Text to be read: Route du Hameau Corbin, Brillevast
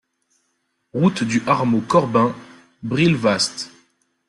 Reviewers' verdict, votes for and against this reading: rejected, 1, 2